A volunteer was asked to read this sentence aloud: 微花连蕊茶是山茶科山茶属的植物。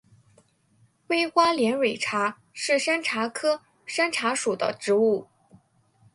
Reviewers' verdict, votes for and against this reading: accepted, 2, 0